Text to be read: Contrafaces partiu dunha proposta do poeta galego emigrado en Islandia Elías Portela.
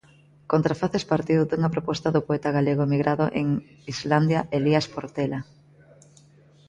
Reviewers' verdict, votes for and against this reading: accepted, 2, 0